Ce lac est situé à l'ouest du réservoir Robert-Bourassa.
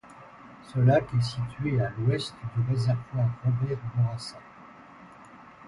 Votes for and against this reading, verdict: 2, 0, accepted